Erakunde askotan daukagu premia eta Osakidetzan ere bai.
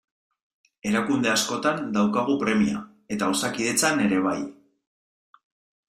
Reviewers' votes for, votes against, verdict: 2, 0, accepted